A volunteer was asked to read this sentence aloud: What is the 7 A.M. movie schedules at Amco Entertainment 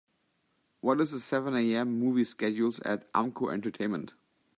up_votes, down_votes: 0, 2